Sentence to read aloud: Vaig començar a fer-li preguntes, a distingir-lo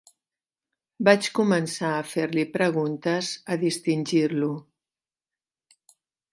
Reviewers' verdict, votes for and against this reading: accepted, 3, 0